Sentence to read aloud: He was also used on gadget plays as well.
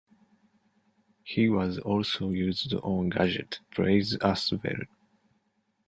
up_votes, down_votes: 2, 0